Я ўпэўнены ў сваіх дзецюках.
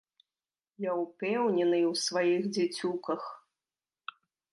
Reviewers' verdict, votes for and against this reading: rejected, 1, 2